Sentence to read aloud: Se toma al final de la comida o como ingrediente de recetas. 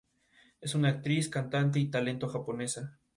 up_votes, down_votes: 0, 2